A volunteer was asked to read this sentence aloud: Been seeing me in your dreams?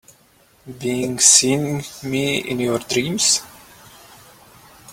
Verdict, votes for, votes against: rejected, 1, 2